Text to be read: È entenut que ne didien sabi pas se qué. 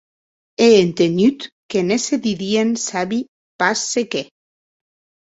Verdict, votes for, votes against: rejected, 2, 2